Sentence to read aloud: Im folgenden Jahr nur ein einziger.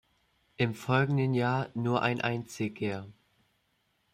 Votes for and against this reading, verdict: 2, 0, accepted